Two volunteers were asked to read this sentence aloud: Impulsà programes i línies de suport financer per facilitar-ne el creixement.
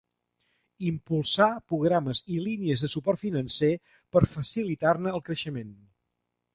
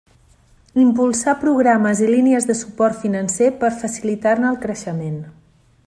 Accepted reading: second